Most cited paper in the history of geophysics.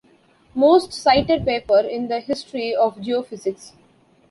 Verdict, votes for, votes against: accepted, 2, 1